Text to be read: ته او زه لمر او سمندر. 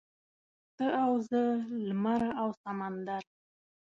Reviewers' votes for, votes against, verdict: 3, 0, accepted